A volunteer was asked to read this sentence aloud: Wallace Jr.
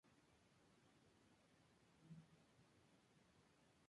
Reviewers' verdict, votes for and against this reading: rejected, 0, 2